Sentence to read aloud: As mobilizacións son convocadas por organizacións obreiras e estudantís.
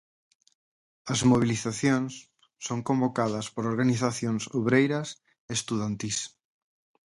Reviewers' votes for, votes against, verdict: 2, 2, rejected